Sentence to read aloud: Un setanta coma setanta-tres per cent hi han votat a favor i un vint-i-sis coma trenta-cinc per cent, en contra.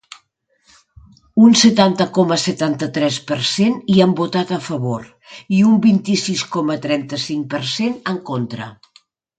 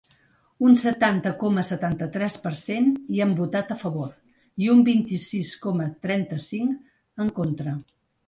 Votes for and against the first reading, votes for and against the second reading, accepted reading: 2, 0, 1, 2, first